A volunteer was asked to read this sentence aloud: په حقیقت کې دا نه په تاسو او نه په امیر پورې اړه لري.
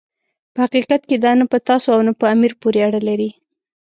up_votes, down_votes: 2, 0